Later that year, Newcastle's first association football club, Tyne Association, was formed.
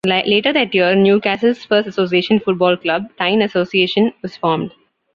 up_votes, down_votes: 2, 1